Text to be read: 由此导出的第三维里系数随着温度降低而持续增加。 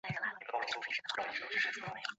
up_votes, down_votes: 0, 3